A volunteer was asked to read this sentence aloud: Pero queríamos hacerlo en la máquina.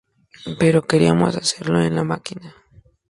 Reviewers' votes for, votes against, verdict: 2, 0, accepted